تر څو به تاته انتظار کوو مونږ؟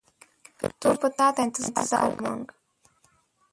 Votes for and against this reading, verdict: 0, 2, rejected